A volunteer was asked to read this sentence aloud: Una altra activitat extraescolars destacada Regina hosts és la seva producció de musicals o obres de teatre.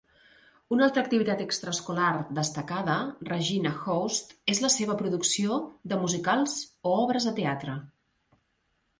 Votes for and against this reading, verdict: 2, 0, accepted